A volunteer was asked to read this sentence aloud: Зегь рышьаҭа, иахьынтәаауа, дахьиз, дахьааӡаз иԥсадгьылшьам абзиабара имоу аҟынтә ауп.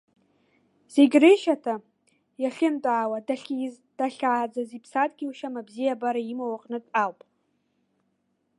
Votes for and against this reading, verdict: 2, 0, accepted